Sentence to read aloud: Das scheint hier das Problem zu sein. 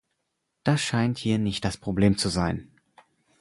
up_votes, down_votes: 0, 4